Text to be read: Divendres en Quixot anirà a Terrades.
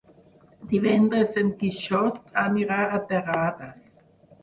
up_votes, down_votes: 6, 2